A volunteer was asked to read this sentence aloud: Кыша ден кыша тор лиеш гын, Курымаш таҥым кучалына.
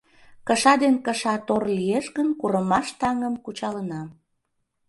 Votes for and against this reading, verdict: 2, 0, accepted